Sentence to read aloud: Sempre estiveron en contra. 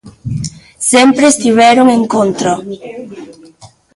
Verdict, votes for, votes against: rejected, 1, 2